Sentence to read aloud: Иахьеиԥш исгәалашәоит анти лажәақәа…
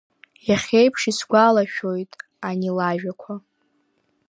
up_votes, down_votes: 1, 2